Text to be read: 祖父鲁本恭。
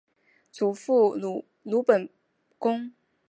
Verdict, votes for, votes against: rejected, 0, 3